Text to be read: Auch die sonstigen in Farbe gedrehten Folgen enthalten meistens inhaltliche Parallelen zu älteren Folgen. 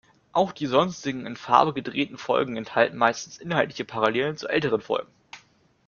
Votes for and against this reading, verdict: 2, 0, accepted